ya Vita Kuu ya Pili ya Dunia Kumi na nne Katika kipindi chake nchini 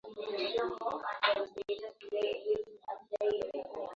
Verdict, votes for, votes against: rejected, 2, 7